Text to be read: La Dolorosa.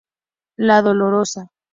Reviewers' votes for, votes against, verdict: 4, 0, accepted